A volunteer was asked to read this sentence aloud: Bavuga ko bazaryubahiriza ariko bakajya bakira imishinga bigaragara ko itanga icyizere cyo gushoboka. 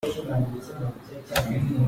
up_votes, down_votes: 0, 2